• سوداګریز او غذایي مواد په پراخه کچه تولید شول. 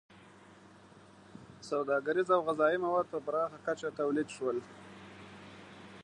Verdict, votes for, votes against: accepted, 3, 0